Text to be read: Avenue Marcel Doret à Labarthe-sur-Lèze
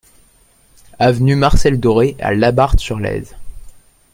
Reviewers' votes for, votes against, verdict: 2, 0, accepted